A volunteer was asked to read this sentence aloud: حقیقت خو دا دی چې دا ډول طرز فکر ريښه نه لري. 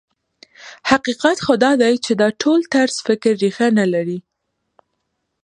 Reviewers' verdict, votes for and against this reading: accepted, 2, 1